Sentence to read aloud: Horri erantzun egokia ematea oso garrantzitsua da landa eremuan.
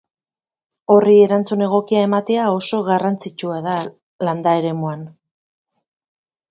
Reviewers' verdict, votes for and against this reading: rejected, 2, 2